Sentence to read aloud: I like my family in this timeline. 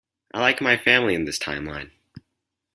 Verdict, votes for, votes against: accepted, 4, 0